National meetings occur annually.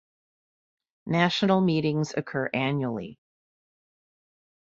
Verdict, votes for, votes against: accepted, 2, 0